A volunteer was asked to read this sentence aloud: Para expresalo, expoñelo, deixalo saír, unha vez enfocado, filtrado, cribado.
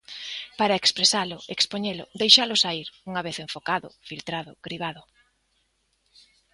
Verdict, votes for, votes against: accepted, 2, 0